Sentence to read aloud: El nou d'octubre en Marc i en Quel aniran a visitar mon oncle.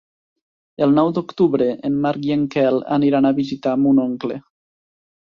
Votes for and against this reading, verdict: 2, 0, accepted